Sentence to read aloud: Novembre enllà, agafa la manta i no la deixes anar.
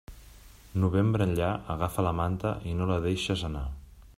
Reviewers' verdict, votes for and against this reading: accepted, 3, 0